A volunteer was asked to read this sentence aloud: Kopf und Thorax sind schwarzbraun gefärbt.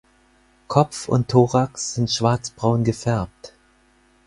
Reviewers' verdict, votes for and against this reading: accepted, 4, 0